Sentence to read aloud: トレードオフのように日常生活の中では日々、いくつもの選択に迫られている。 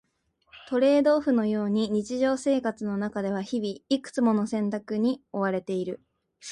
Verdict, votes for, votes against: accepted, 2, 0